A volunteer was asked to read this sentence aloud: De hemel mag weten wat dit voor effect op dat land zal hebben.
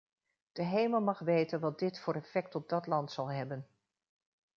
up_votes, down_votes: 2, 0